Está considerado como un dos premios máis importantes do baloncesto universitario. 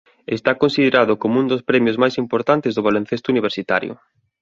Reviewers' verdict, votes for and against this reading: accepted, 2, 0